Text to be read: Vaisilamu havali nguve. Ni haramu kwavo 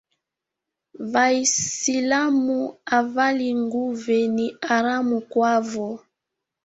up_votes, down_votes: 1, 3